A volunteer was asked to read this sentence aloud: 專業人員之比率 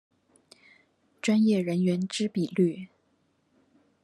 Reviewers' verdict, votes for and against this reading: accepted, 2, 0